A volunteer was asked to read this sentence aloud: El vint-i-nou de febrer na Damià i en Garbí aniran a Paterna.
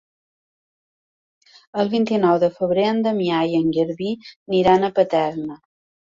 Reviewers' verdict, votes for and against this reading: rejected, 1, 2